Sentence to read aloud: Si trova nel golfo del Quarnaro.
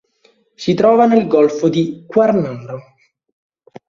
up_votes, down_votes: 1, 2